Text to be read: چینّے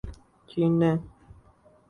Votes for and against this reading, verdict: 0, 2, rejected